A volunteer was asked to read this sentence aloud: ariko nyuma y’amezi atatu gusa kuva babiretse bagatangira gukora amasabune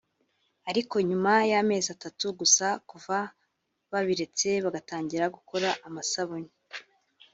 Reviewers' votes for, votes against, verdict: 2, 0, accepted